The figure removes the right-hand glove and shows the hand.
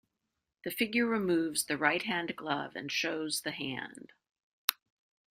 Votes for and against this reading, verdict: 2, 1, accepted